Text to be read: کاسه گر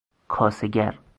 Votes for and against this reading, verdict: 2, 2, rejected